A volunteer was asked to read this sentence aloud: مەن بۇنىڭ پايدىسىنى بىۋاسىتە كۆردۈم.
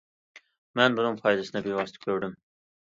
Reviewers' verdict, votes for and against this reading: accepted, 2, 0